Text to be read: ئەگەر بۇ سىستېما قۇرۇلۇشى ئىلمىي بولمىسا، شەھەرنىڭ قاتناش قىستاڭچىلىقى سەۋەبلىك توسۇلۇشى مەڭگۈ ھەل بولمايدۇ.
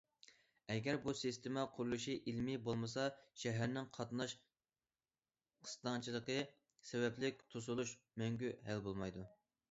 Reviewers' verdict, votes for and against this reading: rejected, 0, 2